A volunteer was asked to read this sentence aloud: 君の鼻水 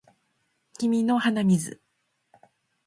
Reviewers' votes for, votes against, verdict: 2, 0, accepted